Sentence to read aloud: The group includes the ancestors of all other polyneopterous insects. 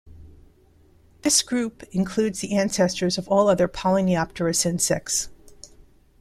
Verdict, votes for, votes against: rejected, 0, 2